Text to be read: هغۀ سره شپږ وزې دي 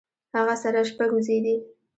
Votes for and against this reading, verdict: 2, 0, accepted